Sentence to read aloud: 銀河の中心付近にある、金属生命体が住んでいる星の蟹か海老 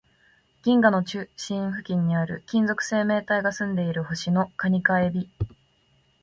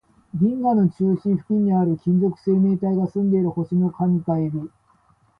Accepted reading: second